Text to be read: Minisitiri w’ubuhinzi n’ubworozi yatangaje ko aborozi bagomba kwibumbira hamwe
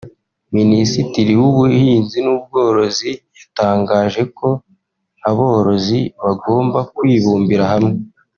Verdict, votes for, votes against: rejected, 0, 2